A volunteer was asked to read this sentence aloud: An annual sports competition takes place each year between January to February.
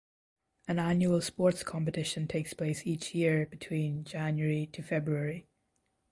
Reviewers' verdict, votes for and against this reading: accepted, 2, 0